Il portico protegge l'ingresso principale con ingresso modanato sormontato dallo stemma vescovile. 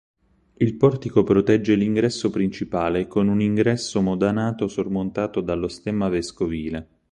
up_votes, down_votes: 2, 6